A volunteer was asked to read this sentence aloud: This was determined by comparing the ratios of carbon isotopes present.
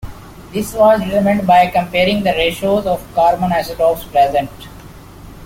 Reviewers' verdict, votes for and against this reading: rejected, 0, 2